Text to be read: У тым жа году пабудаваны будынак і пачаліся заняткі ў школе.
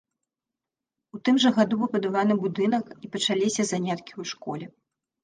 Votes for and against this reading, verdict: 0, 2, rejected